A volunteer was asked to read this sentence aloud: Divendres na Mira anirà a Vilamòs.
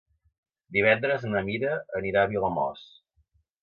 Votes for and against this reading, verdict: 2, 0, accepted